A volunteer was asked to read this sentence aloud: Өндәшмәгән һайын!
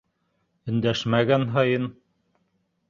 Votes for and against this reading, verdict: 0, 2, rejected